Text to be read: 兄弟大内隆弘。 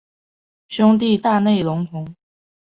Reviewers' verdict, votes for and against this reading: accepted, 2, 1